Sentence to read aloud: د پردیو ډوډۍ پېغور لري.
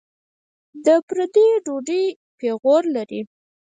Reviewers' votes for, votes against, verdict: 2, 4, rejected